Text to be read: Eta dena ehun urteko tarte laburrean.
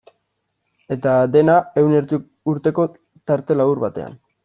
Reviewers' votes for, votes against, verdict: 0, 2, rejected